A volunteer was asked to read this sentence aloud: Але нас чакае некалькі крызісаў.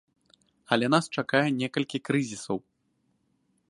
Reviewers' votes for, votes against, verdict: 2, 0, accepted